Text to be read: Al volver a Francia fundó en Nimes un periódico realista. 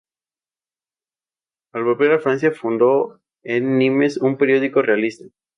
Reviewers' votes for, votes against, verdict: 0, 2, rejected